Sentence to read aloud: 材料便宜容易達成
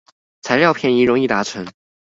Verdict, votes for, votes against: accepted, 2, 0